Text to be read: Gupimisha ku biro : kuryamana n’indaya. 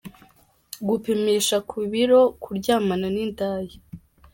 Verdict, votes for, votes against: accepted, 2, 0